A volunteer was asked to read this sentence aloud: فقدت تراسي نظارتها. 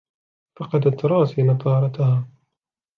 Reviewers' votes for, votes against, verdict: 3, 2, accepted